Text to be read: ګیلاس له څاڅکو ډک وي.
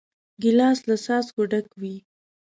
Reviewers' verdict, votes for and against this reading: accepted, 2, 0